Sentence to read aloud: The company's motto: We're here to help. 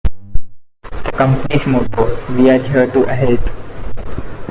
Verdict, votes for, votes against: rejected, 1, 2